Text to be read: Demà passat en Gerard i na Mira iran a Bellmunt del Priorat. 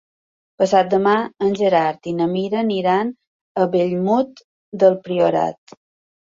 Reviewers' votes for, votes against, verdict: 0, 3, rejected